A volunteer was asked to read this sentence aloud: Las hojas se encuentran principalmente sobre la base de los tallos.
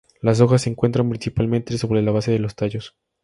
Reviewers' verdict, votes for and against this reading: accepted, 4, 2